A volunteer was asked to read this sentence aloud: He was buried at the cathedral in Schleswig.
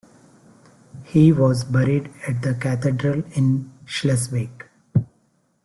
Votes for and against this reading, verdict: 1, 2, rejected